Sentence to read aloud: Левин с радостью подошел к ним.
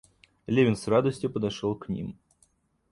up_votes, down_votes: 2, 0